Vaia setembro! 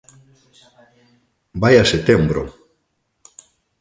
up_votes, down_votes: 2, 1